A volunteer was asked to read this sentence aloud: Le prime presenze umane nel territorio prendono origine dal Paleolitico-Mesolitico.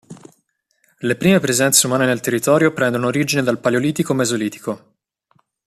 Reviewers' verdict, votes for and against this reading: accepted, 2, 0